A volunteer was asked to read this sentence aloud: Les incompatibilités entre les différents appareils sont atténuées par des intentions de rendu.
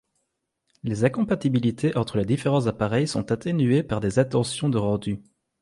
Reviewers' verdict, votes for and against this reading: rejected, 1, 2